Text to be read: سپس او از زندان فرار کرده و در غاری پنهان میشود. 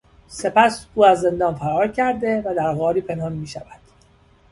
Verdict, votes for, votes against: accepted, 2, 0